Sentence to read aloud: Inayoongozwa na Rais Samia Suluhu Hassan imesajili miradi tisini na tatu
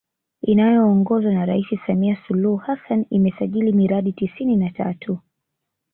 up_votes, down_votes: 2, 0